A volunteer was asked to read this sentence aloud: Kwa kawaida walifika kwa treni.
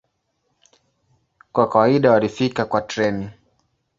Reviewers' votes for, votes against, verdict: 2, 0, accepted